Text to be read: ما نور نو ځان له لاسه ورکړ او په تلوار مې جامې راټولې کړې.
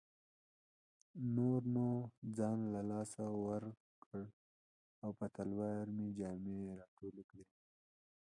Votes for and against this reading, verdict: 0, 2, rejected